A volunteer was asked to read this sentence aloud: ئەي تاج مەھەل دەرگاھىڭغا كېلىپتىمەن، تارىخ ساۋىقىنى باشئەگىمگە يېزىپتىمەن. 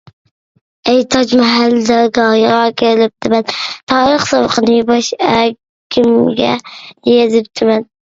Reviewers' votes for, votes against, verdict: 0, 2, rejected